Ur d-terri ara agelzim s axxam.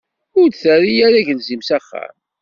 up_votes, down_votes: 2, 0